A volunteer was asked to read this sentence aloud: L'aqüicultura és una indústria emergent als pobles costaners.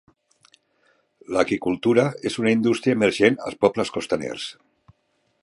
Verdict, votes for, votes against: rejected, 1, 2